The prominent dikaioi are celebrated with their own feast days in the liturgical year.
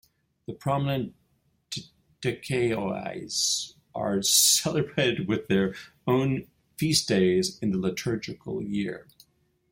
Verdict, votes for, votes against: rejected, 0, 2